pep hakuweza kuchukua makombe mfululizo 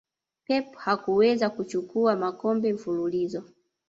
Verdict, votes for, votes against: rejected, 0, 2